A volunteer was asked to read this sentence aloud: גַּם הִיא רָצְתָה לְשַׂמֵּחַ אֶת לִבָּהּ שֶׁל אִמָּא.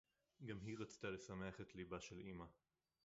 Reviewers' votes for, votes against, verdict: 2, 0, accepted